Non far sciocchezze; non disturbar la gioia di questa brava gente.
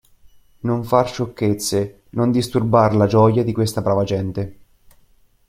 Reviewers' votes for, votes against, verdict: 2, 0, accepted